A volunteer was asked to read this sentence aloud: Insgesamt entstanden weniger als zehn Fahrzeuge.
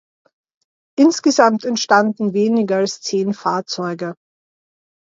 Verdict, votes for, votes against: accepted, 2, 0